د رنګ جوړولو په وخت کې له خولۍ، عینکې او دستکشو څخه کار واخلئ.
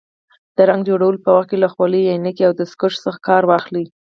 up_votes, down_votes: 2, 4